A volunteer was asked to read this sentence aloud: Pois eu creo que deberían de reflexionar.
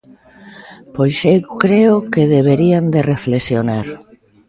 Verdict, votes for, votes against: accepted, 2, 0